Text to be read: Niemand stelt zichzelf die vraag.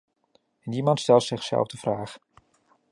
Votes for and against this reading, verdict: 1, 2, rejected